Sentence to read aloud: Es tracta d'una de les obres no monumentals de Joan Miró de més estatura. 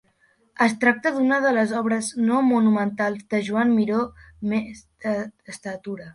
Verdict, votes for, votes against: rejected, 0, 2